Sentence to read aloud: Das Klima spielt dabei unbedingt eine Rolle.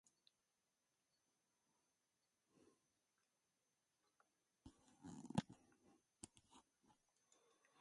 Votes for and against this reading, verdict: 0, 2, rejected